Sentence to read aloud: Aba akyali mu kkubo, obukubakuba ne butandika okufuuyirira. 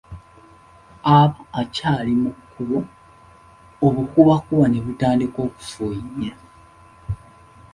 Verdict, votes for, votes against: accepted, 2, 1